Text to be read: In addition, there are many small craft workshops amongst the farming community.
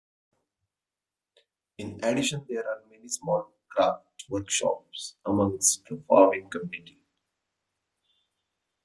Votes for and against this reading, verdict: 2, 1, accepted